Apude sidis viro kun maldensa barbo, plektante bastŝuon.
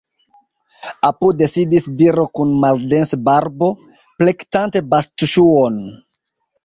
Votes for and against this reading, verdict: 2, 0, accepted